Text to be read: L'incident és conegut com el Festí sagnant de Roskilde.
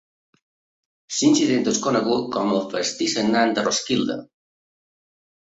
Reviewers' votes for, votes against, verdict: 2, 1, accepted